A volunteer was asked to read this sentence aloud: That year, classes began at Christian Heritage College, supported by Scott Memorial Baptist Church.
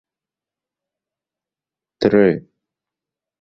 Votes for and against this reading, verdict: 0, 2, rejected